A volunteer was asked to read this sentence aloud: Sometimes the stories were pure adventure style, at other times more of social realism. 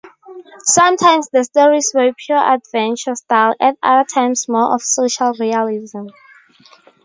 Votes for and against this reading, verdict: 0, 2, rejected